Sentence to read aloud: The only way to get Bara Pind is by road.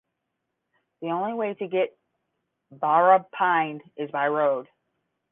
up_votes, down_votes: 5, 5